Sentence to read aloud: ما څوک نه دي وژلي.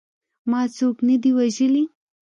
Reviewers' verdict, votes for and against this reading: accepted, 2, 0